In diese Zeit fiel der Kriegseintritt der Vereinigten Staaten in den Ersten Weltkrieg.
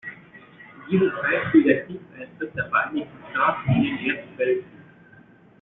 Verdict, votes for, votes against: rejected, 0, 2